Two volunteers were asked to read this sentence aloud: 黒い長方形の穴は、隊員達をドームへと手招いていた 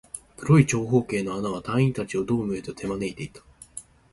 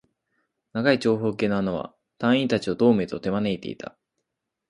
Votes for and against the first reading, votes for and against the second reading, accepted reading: 3, 0, 0, 4, first